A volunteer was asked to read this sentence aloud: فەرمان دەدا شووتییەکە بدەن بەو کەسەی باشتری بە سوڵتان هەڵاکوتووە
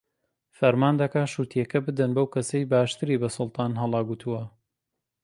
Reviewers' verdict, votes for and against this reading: rejected, 1, 2